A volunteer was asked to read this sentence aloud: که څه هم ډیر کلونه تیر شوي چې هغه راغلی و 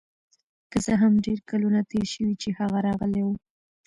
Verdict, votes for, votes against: rejected, 1, 2